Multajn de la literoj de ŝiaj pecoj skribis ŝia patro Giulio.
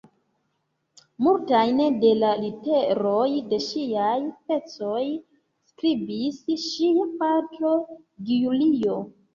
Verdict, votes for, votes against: rejected, 1, 2